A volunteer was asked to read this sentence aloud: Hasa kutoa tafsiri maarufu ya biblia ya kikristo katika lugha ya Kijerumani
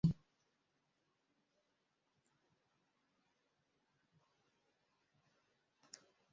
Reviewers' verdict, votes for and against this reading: rejected, 0, 2